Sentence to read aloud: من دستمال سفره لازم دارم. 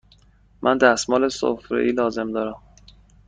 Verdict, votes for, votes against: rejected, 1, 2